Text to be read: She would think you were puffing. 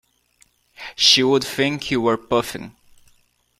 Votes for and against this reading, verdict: 2, 0, accepted